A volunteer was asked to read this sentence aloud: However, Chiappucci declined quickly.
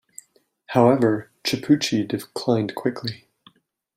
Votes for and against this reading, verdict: 2, 0, accepted